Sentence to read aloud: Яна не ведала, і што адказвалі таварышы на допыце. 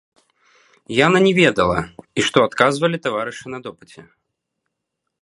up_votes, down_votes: 2, 0